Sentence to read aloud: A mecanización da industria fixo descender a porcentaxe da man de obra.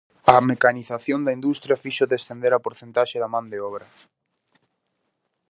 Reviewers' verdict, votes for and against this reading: accepted, 2, 0